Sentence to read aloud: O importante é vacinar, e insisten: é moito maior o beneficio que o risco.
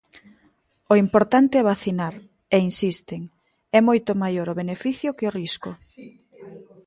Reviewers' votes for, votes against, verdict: 1, 2, rejected